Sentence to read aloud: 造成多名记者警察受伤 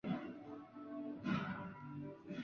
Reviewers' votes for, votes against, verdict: 0, 3, rejected